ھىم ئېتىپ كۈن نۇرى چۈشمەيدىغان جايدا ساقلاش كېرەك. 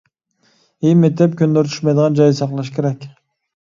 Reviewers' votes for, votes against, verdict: 2, 0, accepted